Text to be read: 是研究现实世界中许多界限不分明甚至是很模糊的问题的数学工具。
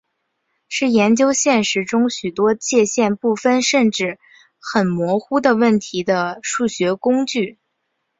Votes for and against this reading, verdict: 0, 2, rejected